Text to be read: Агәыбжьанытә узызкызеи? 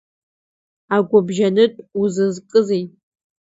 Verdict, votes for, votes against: accepted, 2, 0